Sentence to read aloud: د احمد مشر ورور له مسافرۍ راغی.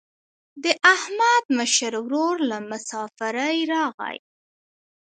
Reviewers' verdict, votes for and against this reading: accepted, 2, 1